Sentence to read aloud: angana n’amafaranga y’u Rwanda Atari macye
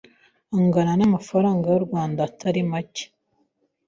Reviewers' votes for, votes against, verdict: 2, 0, accepted